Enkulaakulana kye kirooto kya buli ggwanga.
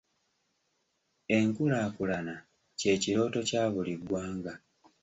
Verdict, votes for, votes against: accepted, 2, 1